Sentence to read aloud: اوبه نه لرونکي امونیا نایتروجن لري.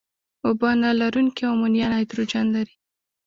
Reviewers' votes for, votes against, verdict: 0, 2, rejected